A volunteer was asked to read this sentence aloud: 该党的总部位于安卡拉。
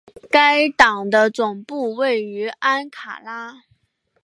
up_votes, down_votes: 0, 2